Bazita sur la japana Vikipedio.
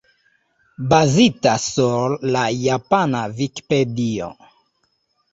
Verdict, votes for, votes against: rejected, 1, 2